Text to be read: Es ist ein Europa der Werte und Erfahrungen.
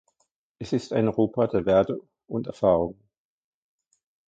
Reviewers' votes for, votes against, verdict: 1, 2, rejected